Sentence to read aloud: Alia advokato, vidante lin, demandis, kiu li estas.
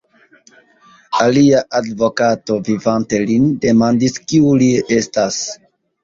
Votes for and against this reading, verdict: 1, 2, rejected